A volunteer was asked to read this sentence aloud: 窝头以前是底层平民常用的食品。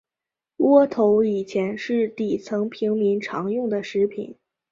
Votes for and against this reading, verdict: 3, 0, accepted